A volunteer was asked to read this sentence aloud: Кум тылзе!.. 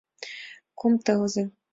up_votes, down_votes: 2, 0